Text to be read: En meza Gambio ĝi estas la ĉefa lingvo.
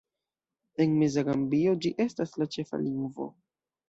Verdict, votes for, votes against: accepted, 2, 0